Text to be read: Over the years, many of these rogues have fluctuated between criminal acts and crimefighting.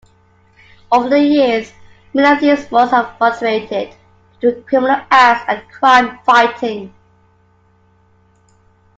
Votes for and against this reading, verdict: 0, 2, rejected